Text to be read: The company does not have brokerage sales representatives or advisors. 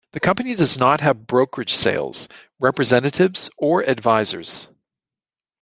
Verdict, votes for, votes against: accepted, 2, 0